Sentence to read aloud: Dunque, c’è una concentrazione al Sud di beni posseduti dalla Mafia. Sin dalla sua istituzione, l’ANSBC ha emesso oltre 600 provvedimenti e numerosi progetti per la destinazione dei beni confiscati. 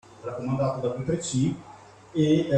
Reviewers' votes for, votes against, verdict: 0, 2, rejected